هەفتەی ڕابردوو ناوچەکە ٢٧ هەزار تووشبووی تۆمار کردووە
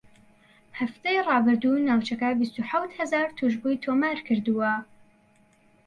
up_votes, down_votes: 0, 2